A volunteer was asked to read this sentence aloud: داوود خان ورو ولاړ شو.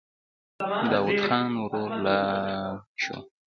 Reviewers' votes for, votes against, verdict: 2, 1, accepted